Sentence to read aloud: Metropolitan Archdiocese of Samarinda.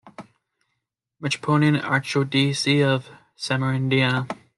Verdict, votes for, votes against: rejected, 1, 2